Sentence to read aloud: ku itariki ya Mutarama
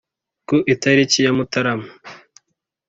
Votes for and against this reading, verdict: 3, 0, accepted